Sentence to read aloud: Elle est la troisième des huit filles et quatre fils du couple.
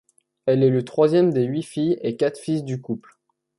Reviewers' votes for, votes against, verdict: 2, 0, accepted